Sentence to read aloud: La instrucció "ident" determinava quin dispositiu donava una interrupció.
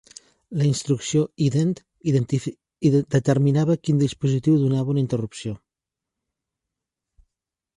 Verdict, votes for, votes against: rejected, 0, 2